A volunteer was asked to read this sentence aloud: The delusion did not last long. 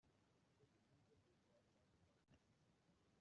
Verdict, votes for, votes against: rejected, 0, 2